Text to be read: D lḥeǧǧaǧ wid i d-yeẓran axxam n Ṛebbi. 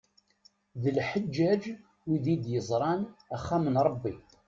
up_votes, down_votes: 2, 0